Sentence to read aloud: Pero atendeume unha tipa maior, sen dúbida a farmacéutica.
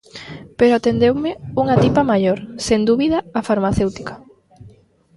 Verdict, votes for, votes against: accepted, 2, 0